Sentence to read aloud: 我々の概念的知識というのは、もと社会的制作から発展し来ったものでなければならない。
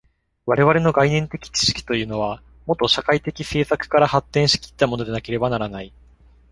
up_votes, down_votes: 2, 0